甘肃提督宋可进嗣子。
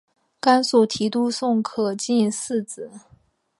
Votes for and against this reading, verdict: 2, 0, accepted